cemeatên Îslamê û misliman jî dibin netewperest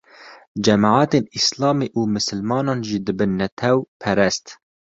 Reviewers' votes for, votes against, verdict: 1, 2, rejected